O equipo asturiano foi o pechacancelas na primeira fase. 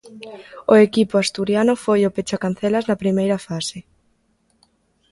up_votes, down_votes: 1, 2